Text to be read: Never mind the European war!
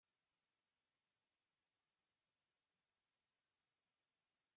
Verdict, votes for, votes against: rejected, 0, 2